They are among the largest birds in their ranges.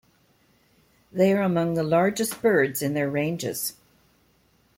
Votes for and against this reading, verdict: 2, 0, accepted